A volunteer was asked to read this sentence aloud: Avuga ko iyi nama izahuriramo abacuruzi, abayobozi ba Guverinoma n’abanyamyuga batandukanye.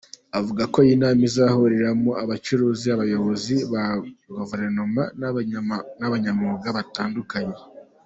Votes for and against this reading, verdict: 0, 2, rejected